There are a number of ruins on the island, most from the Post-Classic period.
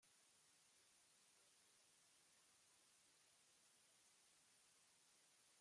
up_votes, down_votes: 0, 2